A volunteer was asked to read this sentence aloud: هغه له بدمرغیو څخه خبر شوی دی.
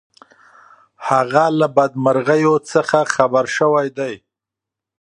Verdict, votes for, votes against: accepted, 2, 0